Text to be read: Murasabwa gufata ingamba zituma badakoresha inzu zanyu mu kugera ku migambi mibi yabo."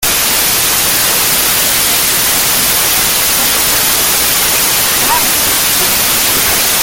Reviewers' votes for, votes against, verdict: 0, 2, rejected